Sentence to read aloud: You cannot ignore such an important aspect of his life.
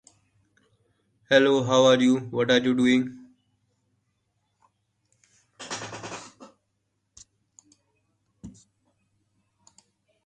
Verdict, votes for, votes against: rejected, 0, 2